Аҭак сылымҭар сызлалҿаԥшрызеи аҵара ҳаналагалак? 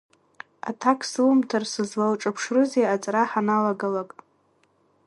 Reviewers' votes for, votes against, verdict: 1, 2, rejected